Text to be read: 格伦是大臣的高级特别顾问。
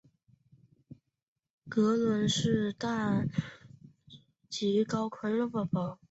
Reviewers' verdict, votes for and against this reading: rejected, 0, 2